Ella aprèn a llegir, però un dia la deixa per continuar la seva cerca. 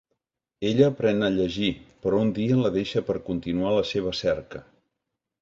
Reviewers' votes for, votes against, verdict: 2, 0, accepted